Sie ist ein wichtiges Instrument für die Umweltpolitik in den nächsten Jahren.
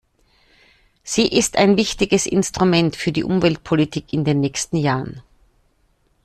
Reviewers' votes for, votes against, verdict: 2, 0, accepted